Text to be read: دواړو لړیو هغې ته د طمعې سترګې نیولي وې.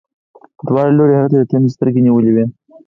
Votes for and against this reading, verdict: 2, 4, rejected